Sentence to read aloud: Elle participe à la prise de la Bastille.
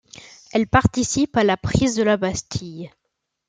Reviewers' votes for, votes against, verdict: 2, 0, accepted